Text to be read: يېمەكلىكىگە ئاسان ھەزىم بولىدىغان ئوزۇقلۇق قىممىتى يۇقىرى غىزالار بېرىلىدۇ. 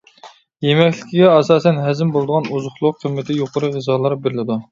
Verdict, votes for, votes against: accepted, 2, 1